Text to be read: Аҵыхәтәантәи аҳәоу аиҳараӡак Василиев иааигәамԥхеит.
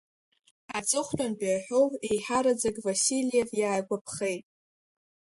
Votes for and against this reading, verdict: 1, 2, rejected